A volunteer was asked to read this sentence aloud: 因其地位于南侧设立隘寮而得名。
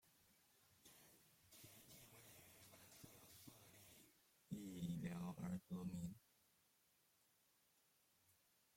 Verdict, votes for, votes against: rejected, 0, 2